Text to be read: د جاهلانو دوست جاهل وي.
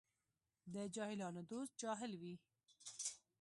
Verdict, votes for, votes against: accepted, 2, 0